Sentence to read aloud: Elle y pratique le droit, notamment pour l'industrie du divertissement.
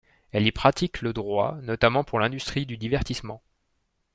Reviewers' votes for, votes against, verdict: 2, 0, accepted